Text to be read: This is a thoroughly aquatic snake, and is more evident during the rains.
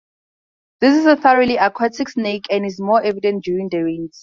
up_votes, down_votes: 4, 0